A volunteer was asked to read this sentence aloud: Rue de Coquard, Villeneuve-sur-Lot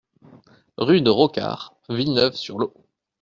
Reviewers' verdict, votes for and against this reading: rejected, 0, 2